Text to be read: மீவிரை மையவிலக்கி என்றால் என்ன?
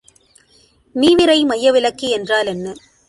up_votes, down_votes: 2, 0